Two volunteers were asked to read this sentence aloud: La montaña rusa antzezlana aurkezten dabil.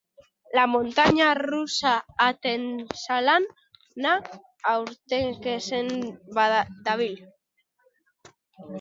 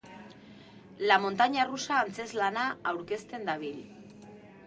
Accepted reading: second